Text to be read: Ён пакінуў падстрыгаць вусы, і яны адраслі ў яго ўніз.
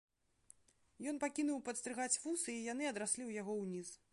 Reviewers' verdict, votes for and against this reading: rejected, 1, 2